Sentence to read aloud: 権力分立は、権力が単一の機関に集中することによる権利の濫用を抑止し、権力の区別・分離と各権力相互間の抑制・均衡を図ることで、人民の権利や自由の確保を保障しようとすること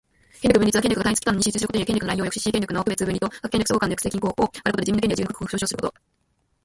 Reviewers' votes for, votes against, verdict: 1, 2, rejected